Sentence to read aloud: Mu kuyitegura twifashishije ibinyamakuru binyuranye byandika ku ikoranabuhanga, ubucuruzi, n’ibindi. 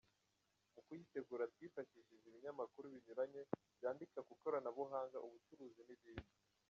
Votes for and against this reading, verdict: 0, 2, rejected